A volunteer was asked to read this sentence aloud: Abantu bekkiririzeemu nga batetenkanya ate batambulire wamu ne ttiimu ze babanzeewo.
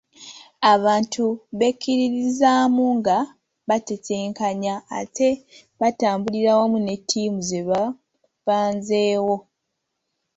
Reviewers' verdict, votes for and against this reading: rejected, 1, 2